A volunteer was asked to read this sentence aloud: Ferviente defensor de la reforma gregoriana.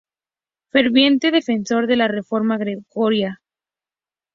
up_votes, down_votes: 0, 2